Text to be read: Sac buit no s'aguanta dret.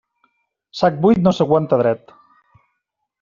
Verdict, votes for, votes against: accepted, 3, 0